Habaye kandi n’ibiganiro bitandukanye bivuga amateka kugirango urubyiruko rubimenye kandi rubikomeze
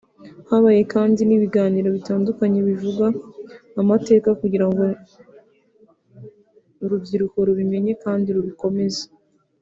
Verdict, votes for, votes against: rejected, 1, 2